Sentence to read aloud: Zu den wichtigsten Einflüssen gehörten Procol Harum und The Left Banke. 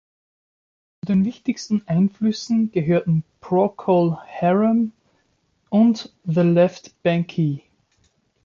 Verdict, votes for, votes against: rejected, 0, 2